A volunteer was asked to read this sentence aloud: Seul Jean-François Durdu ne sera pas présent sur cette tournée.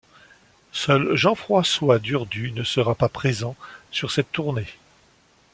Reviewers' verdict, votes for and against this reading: accepted, 2, 0